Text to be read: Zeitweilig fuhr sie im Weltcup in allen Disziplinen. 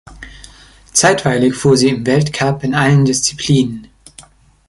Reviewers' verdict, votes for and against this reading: accepted, 3, 0